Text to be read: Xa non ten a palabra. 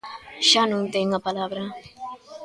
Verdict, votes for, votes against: rejected, 1, 2